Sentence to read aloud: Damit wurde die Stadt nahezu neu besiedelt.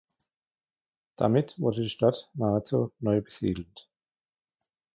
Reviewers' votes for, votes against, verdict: 1, 2, rejected